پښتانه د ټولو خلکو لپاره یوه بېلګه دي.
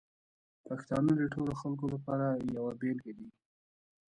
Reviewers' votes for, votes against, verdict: 1, 2, rejected